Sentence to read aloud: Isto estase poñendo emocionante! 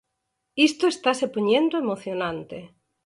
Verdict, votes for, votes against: accepted, 4, 0